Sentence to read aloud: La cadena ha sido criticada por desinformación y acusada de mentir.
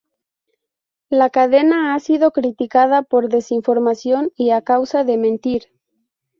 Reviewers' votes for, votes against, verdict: 0, 2, rejected